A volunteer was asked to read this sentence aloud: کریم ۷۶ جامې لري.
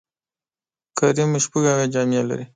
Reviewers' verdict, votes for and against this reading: rejected, 0, 2